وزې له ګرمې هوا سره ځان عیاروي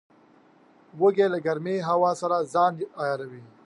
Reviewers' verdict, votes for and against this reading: rejected, 1, 2